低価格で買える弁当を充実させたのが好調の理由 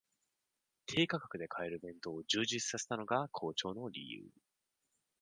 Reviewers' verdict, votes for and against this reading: accepted, 2, 0